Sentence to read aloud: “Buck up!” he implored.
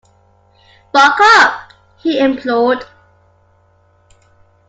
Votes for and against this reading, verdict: 2, 0, accepted